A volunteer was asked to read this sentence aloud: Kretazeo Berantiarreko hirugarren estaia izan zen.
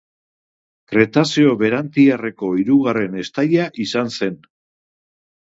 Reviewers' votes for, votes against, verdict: 2, 0, accepted